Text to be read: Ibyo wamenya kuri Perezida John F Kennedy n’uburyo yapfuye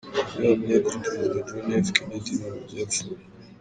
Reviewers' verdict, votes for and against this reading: rejected, 0, 2